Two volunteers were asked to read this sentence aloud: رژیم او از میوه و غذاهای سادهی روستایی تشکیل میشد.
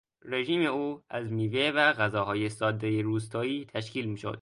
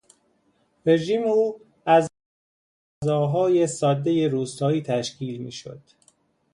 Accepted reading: first